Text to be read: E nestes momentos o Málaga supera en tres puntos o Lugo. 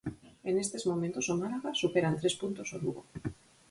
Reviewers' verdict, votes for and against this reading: accepted, 4, 0